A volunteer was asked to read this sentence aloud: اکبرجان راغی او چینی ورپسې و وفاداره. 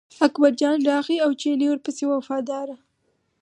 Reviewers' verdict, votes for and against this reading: rejected, 2, 4